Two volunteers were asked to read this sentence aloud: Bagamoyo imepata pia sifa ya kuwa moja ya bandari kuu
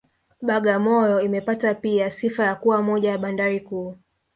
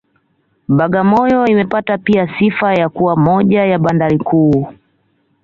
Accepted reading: second